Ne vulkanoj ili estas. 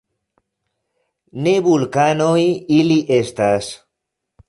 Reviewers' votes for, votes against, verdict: 0, 2, rejected